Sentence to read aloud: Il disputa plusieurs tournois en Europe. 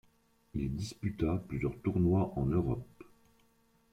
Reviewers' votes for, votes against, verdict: 3, 1, accepted